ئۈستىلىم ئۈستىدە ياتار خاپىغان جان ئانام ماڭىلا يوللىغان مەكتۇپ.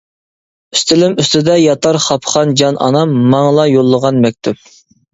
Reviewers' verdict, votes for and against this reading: rejected, 0, 2